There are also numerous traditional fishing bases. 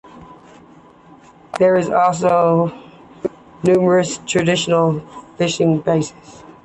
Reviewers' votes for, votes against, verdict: 2, 0, accepted